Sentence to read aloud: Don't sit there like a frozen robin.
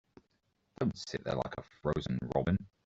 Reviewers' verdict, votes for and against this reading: rejected, 1, 2